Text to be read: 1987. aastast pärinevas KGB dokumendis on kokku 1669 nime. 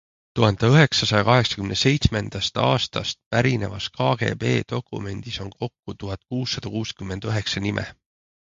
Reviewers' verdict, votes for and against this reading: rejected, 0, 2